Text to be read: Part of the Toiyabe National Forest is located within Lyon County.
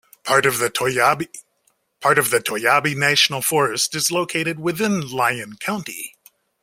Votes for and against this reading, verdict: 0, 2, rejected